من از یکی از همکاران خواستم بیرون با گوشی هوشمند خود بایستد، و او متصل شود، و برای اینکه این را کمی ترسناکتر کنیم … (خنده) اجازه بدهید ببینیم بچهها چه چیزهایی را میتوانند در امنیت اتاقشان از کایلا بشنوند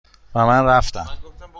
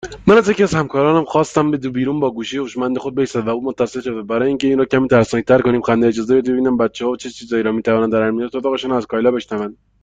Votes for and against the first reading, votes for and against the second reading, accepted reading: 1, 2, 2, 0, second